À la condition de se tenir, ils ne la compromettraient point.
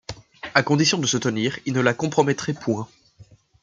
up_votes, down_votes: 1, 2